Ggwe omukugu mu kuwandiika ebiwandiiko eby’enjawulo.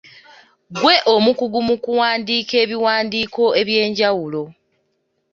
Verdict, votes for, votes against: accepted, 2, 0